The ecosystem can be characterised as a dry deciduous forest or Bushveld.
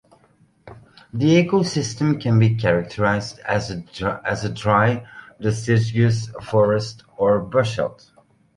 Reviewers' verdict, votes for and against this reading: rejected, 1, 3